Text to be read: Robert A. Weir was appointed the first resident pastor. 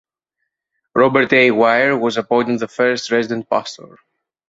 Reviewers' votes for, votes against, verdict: 2, 0, accepted